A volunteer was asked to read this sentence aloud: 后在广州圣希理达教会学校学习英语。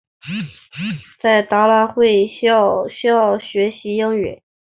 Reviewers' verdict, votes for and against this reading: accepted, 3, 0